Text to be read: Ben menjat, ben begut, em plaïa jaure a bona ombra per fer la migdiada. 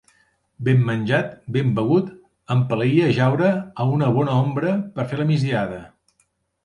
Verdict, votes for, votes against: rejected, 0, 2